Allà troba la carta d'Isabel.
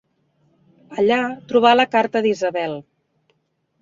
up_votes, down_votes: 1, 2